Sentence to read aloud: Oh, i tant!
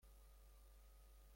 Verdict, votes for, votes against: rejected, 0, 2